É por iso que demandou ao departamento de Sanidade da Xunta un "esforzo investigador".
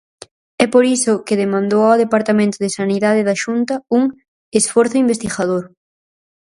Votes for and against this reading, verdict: 4, 0, accepted